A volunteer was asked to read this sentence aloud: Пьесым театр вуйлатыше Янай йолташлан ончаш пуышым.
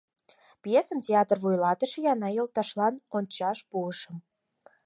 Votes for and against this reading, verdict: 0, 4, rejected